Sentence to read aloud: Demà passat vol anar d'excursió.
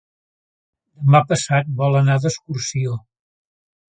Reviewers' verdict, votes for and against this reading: rejected, 0, 2